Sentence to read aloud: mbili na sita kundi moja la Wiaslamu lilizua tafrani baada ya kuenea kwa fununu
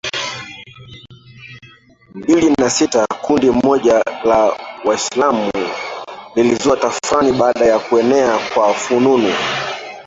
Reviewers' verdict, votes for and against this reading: rejected, 0, 2